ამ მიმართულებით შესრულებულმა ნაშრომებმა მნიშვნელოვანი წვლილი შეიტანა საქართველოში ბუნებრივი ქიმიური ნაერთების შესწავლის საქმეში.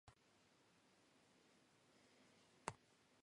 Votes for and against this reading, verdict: 1, 2, rejected